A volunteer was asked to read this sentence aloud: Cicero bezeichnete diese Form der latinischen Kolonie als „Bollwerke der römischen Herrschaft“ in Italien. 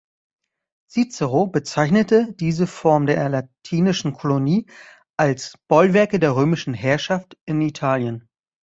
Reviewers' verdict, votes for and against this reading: rejected, 1, 2